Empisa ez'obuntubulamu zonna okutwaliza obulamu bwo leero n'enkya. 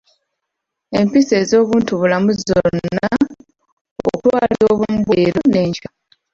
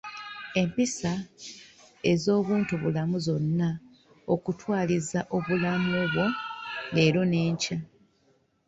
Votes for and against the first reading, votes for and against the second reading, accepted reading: 0, 2, 2, 0, second